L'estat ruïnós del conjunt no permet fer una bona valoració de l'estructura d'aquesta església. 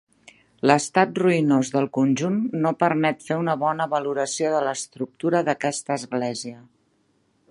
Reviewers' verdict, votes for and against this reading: accepted, 3, 0